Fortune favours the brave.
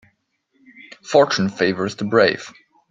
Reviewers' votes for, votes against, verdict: 2, 0, accepted